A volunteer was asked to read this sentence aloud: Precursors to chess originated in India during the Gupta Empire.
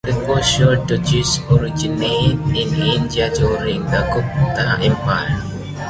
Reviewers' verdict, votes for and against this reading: rejected, 0, 2